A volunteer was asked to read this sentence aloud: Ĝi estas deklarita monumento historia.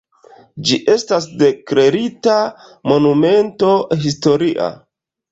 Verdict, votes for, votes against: rejected, 1, 2